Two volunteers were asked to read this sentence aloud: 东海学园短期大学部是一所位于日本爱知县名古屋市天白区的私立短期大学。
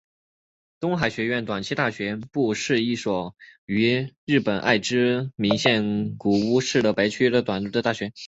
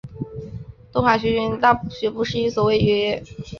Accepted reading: first